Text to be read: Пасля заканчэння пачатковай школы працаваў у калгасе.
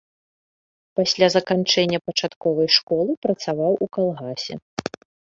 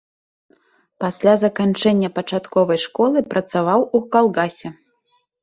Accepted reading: first